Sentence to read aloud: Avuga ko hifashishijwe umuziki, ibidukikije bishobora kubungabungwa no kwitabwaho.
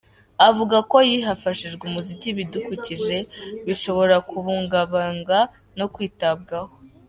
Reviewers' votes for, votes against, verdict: 0, 2, rejected